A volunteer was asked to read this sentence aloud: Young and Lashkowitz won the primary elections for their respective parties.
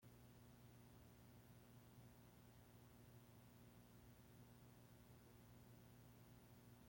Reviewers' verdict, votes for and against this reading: rejected, 0, 2